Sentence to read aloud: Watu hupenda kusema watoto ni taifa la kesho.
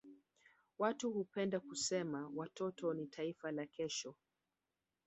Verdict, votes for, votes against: rejected, 1, 2